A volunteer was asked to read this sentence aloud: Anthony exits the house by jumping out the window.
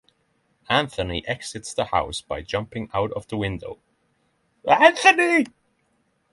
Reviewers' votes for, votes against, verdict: 0, 6, rejected